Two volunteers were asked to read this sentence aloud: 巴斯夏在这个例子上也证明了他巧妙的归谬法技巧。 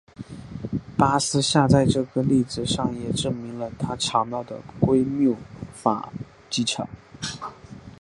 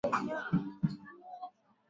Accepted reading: first